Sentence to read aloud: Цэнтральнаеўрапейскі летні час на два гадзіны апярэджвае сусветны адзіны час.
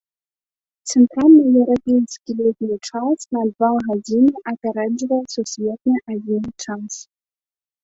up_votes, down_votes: 2, 1